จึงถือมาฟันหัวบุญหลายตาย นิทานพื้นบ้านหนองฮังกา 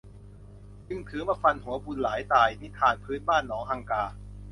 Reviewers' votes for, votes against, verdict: 2, 0, accepted